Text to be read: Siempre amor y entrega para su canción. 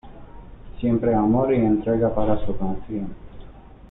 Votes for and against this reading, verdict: 2, 0, accepted